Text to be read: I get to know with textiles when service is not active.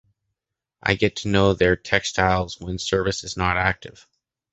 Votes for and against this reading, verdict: 0, 2, rejected